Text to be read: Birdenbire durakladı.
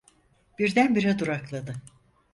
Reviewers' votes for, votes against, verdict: 4, 0, accepted